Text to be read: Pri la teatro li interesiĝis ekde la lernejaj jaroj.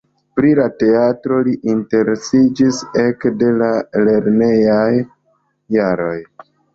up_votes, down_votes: 2, 0